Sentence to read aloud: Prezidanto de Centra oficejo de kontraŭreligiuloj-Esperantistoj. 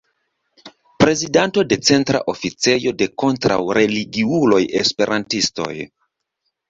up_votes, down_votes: 2, 0